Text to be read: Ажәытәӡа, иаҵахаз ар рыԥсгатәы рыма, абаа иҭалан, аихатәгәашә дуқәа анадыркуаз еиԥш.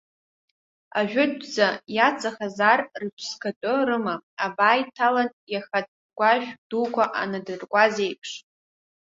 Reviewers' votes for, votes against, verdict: 1, 3, rejected